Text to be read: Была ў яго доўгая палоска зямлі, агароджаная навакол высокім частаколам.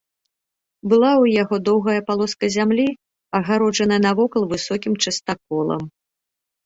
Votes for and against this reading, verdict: 1, 2, rejected